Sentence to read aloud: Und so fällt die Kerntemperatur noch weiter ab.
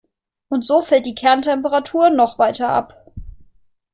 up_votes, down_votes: 2, 0